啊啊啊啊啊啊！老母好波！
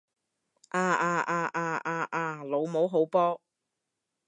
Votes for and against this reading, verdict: 2, 0, accepted